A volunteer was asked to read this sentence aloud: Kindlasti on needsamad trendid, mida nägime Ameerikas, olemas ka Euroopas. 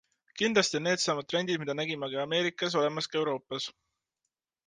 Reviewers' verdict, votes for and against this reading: rejected, 1, 2